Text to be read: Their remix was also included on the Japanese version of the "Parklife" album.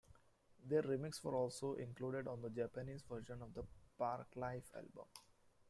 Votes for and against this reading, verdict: 0, 2, rejected